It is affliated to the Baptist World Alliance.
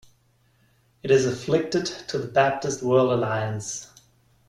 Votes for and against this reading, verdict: 0, 2, rejected